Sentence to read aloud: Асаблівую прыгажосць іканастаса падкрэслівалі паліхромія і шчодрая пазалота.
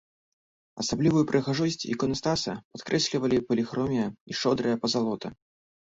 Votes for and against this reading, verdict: 2, 0, accepted